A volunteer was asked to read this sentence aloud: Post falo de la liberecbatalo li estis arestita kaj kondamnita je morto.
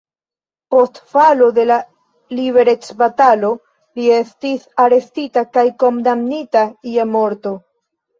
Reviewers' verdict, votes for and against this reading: accepted, 2, 0